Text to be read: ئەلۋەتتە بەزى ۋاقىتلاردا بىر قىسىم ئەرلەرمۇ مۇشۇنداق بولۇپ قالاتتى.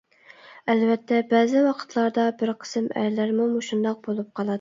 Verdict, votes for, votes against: rejected, 0, 2